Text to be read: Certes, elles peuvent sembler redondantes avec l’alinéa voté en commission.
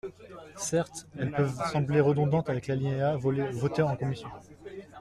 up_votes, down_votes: 0, 2